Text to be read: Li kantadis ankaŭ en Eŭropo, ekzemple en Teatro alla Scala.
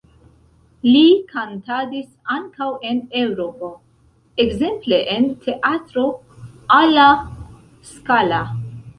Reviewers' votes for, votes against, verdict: 0, 2, rejected